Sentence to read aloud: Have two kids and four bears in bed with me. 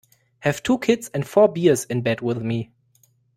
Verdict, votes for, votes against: rejected, 0, 2